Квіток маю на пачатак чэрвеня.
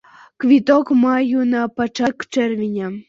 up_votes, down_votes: 0, 2